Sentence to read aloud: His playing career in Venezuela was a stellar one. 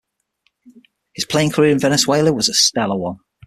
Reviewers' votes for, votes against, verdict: 6, 0, accepted